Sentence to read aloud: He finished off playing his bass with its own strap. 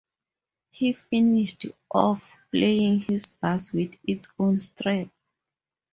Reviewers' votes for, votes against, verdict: 4, 0, accepted